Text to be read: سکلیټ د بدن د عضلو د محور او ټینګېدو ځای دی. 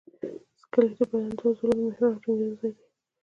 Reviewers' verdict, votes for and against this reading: accepted, 2, 1